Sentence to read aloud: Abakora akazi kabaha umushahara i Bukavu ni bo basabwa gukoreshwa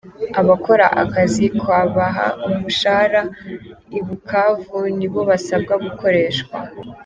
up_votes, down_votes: 2, 0